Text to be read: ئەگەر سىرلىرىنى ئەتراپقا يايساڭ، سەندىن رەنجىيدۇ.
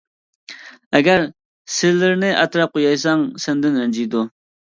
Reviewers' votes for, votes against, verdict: 2, 0, accepted